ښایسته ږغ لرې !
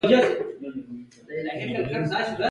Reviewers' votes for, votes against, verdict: 1, 2, rejected